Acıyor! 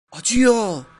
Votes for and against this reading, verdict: 2, 1, accepted